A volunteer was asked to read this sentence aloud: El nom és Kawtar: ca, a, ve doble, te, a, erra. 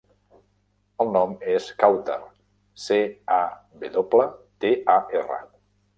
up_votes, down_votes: 0, 2